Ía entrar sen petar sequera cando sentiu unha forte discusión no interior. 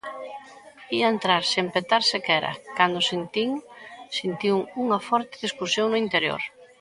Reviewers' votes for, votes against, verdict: 0, 2, rejected